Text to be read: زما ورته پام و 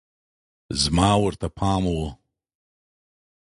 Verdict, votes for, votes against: accepted, 2, 0